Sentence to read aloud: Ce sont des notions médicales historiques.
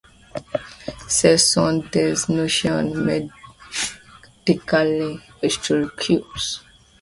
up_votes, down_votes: 1, 2